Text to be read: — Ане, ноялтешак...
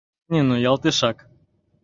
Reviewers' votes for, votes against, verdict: 0, 2, rejected